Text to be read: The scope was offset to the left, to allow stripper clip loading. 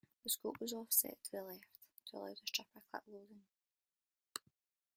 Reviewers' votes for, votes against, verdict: 0, 2, rejected